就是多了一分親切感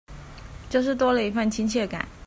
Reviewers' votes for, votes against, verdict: 2, 0, accepted